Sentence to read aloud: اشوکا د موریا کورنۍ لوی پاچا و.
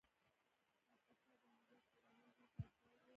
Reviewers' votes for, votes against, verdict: 0, 2, rejected